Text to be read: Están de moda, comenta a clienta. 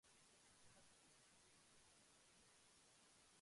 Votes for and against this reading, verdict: 0, 2, rejected